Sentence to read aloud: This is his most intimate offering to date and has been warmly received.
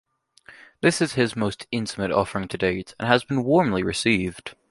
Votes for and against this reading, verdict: 2, 0, accepted